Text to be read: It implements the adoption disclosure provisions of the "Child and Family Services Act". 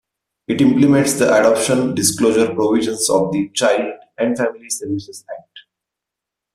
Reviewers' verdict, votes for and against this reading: rejected, 1, 2